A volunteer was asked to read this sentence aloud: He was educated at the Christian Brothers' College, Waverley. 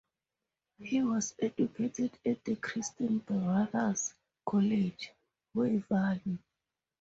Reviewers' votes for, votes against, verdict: 2, 2, rejected